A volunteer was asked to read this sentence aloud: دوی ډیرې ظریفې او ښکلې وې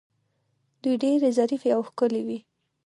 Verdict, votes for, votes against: accepted, 2, 0